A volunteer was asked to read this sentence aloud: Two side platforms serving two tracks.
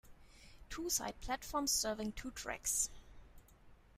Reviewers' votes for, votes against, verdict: 2, 0, accepted